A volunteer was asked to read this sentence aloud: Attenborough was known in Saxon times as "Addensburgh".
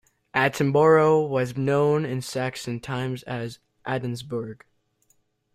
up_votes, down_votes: 2, 1